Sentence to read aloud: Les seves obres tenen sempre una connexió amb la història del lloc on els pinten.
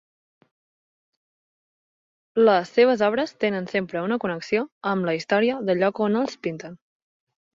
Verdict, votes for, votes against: accepted, 2, 0